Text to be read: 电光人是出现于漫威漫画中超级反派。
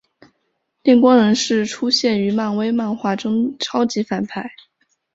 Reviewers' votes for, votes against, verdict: 2, 0, accepted